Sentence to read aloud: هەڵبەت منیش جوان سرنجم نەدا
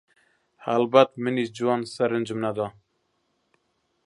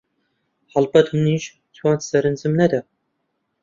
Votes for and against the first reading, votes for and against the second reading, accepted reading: 2, 1, 1, 2, first